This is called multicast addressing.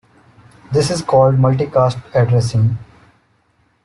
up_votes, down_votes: 2, 0